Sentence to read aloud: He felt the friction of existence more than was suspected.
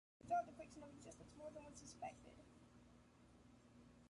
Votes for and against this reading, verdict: 0, 2, rejected